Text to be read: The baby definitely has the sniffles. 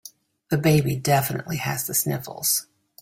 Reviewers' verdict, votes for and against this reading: accepted, 2, 0